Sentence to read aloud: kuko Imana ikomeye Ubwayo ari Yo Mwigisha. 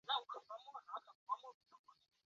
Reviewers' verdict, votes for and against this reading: rejected, 0, 2